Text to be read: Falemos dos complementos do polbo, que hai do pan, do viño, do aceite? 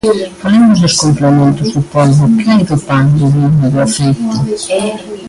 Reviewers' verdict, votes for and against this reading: rejected, 0, 2